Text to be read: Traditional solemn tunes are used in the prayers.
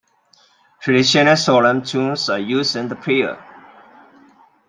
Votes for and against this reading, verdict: 1, 2, rejected